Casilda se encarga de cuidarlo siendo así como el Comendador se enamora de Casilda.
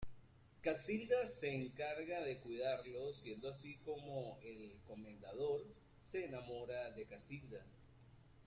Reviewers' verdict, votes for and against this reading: accepted, 2, 0